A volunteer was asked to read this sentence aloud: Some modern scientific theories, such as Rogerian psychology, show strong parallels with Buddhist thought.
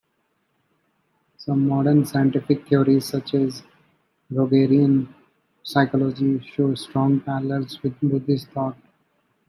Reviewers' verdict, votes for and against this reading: accepted, 2, 0